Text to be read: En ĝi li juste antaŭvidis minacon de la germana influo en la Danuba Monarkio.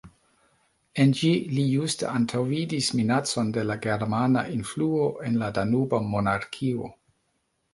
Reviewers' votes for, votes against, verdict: 2, 1, accepted